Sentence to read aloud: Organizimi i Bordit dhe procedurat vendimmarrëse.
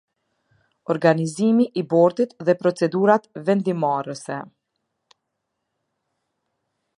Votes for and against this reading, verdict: 2, 0, accepted